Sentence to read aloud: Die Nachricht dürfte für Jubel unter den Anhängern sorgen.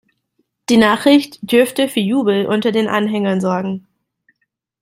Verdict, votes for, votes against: accepted, 2, 0